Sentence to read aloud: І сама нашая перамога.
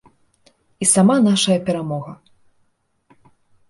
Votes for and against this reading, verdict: 2, 0, accepted